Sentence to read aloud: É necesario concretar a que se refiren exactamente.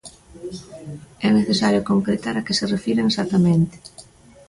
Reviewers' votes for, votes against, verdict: 0, 2, rejected